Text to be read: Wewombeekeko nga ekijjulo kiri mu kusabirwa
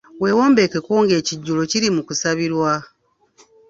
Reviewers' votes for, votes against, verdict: 2, 0, accepted